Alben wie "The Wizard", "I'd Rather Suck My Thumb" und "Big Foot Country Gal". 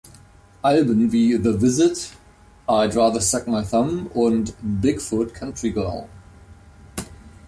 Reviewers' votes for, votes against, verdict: 1, 2, rejected